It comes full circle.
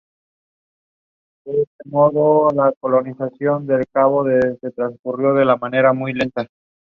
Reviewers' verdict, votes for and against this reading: rejected, 0, 2